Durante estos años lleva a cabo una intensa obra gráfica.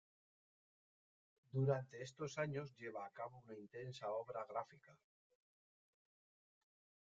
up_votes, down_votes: 1, 2